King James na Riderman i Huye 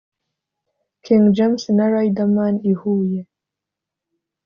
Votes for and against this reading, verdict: 2, 0, accepted